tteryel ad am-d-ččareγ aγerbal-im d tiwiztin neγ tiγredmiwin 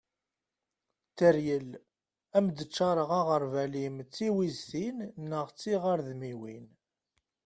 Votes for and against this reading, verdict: 1, 2, rejected